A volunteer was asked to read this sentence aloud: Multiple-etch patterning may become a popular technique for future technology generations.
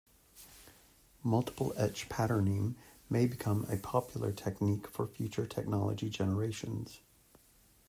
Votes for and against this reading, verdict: 2, 1, accepted